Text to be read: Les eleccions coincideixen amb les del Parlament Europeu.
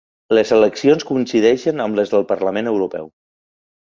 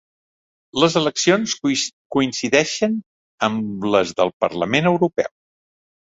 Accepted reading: first